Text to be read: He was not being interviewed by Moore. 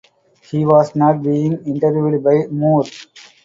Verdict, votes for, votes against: accepted, 2, 0